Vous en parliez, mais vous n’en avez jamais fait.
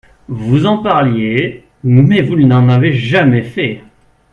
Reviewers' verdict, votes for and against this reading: accepted, 3, 1